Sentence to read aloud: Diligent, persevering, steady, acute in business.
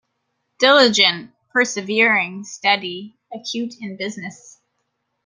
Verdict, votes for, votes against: accepted, 2, 0